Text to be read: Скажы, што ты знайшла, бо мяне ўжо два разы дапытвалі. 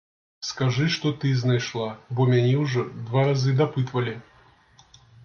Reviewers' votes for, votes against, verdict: 2, 0, accepted